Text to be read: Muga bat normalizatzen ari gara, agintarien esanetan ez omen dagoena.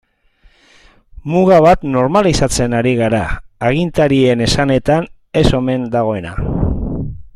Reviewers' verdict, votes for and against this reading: accepted, 2, 0